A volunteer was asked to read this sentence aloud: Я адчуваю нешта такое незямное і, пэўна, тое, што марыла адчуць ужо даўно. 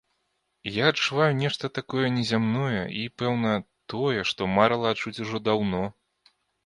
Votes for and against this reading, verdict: 2, 0, accepted